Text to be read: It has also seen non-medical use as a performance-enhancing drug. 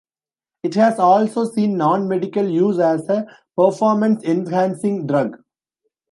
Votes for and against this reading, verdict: 2, 0, accepted